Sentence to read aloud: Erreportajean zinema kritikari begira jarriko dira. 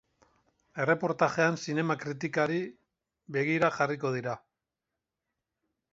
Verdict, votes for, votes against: accepted, 2, 0